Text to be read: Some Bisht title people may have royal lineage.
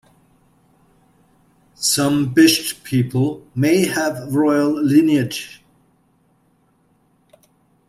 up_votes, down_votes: 0, 2